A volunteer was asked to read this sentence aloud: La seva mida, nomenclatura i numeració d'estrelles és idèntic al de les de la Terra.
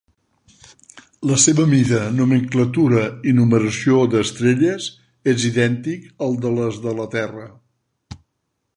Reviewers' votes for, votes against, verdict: 4, 0, accepted